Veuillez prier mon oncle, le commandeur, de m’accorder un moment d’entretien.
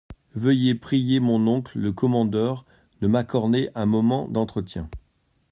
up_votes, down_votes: 1, 2